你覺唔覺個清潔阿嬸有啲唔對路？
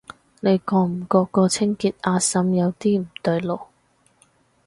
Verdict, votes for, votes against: accepted, 4, 0